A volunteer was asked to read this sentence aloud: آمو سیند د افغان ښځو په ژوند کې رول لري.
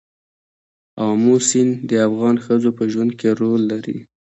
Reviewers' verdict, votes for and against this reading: rejected, 0, 2